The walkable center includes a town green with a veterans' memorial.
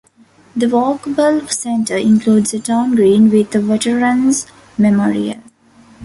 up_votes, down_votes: 1, 2